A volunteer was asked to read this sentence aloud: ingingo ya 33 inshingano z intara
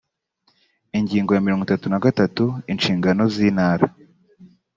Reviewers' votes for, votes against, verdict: 0, 2, rejected